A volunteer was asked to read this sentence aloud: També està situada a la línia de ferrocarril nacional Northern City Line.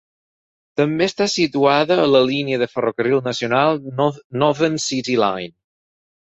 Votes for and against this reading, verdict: 0, 4, rejected